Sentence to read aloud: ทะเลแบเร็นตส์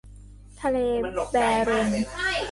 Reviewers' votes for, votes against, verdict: 0, 3, rejected